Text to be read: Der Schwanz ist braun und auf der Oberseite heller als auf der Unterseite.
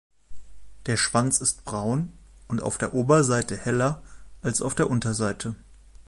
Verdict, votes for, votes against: accepted, 2, 0